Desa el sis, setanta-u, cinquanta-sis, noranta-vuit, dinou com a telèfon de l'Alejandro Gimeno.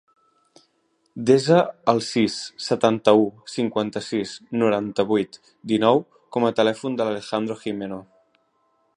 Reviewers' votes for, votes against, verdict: 3, 0, accepted